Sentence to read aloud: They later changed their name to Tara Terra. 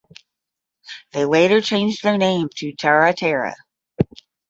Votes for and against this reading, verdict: 5, 10, rejected